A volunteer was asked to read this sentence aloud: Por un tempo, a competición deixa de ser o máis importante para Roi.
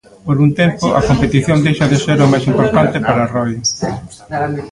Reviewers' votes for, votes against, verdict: 1, 2, rejected